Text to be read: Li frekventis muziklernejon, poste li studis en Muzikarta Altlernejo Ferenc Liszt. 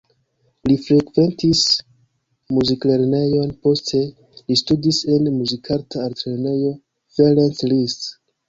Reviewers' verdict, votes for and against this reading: accepted, 3, 0